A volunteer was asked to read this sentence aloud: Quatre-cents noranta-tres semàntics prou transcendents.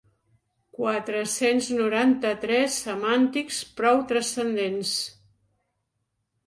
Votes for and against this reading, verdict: 5, 0, accepted